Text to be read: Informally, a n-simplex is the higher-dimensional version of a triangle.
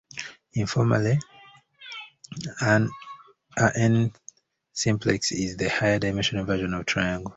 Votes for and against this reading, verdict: 0, 2, rejected